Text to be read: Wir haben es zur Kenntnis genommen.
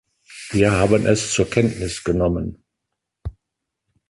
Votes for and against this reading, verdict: 1, 2, rejected